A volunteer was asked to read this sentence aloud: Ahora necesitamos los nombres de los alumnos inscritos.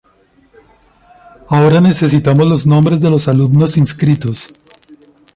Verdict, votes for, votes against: accepted, 2, 0